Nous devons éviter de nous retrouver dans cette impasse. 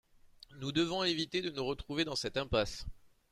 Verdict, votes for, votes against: accepted, 2, 0